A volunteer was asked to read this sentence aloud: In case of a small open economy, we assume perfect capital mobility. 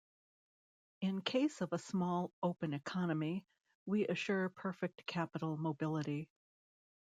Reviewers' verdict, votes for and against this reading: rejected, 0, 2